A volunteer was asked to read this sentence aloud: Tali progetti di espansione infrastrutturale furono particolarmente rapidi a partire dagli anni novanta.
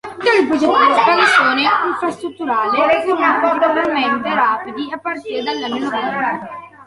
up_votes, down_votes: 0, 2